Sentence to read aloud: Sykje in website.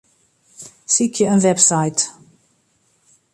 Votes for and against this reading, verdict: 2, 0, accepted